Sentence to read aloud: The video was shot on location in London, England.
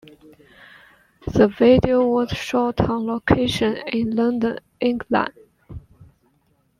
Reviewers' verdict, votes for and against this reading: accepted, 2, 1